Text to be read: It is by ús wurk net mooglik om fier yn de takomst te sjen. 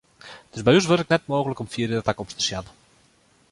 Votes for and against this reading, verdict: 1, 2, rejected